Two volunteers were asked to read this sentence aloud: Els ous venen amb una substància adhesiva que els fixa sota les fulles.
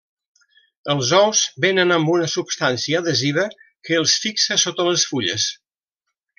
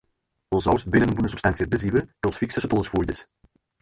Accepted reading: first